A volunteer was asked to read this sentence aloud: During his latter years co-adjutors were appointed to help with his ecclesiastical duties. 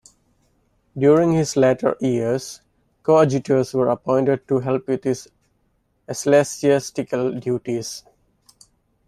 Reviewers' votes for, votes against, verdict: 0, 2, rejected